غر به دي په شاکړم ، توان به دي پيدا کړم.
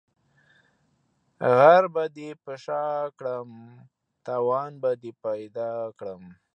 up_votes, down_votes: 1, 2